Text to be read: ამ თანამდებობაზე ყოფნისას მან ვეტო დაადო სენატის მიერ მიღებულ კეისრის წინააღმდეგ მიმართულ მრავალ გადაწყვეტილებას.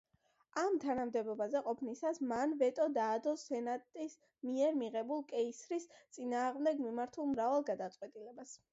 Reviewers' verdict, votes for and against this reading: accepted, 2, 0